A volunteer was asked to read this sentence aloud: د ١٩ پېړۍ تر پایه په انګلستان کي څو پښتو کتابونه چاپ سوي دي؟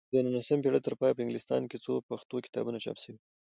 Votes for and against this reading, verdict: 0, 2, rejected